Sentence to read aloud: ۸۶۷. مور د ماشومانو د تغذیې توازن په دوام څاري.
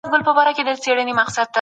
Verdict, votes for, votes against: rejected, 0, 2